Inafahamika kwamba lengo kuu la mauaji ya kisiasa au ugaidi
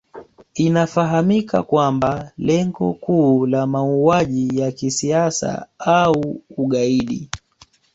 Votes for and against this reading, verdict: 2, 0, accepted